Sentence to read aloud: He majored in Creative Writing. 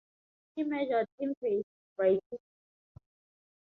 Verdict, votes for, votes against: accepted, 2, 0